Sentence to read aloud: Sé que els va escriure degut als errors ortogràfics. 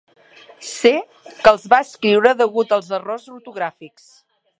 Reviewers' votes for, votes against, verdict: 4, 0, accepted